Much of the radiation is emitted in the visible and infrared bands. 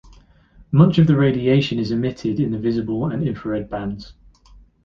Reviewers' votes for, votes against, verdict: 2, 0, accepted